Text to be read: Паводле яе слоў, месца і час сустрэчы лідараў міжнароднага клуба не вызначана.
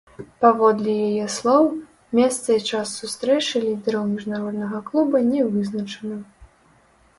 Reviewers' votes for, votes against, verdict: 1, 2, rejected